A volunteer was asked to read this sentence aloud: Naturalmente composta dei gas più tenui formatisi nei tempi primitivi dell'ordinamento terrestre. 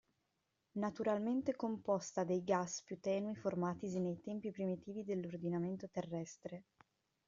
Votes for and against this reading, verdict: 2, 0, accepted